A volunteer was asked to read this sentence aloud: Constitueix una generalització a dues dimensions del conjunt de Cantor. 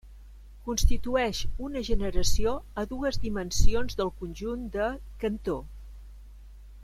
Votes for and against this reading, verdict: 2, 3, rejected